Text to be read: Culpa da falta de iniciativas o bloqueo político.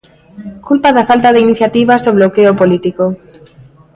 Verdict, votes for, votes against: accepted, 2, 1